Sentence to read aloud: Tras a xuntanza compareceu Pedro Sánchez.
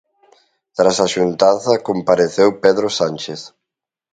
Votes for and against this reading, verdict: 3, 1, accepted